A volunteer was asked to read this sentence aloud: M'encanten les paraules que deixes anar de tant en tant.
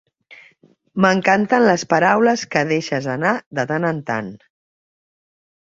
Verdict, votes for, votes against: accepted, 3, 0